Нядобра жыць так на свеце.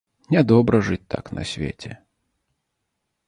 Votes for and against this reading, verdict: 2, 0, accepted